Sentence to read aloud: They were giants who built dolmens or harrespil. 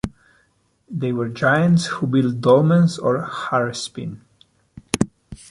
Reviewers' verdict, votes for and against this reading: rejected, 1, 2